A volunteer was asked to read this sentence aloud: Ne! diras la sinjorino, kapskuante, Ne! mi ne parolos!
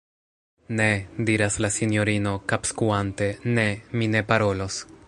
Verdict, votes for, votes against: rejected, 1, 2